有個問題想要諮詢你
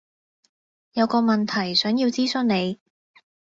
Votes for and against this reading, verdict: 2, 0, accepted